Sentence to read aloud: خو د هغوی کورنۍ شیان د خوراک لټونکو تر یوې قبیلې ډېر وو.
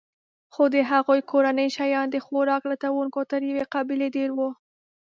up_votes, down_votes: 2, 1